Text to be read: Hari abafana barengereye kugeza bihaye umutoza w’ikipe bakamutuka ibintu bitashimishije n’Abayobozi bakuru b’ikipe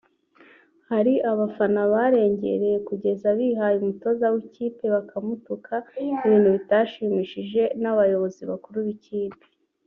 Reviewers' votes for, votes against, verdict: 1, 2, rejected